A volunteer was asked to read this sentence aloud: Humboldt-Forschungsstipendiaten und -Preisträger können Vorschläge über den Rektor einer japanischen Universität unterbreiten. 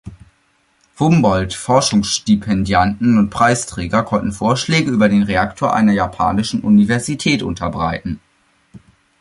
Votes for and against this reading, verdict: 0, 2, rejected